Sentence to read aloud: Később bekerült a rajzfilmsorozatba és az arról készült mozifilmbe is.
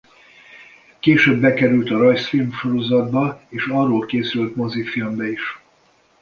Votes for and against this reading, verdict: 1, 2, rejected